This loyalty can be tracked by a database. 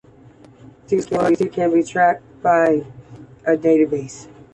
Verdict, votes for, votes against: accepted, 2, 0